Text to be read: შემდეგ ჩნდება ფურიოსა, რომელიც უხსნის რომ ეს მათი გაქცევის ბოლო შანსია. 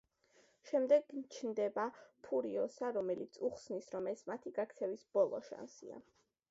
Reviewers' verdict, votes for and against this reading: accepted, 2, 0